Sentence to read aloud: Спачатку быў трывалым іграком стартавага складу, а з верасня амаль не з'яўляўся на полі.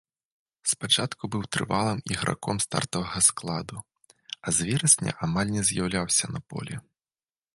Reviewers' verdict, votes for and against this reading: accepted, 2, 0